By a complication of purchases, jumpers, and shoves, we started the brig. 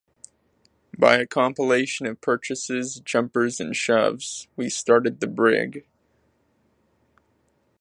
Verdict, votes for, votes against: accepted, 2, 1